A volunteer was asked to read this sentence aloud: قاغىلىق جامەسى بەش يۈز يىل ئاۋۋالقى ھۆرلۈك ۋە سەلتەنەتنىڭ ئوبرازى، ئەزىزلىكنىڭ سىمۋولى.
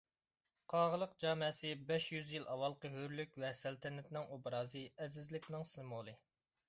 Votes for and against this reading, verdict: 2, 0, accepted